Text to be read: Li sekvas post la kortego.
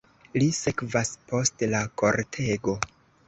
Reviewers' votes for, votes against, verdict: 2, 1, accepted